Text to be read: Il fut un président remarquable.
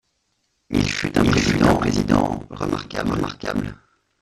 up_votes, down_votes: 0, 2